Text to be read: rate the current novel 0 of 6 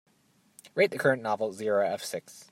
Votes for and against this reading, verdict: 0, 2, rejected